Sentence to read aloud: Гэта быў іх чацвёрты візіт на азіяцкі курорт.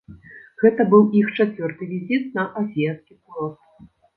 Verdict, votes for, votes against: rejected, 0, 2